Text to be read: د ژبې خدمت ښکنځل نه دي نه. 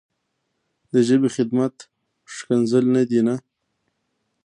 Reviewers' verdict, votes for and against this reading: rejected, 1, 2